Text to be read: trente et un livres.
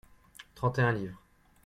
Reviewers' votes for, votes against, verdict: 2, 0, accepted